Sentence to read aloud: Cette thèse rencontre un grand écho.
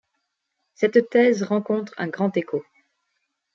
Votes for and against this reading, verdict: 2, 0, accepted